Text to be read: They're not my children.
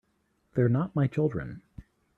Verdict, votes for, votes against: accepted, 2, 0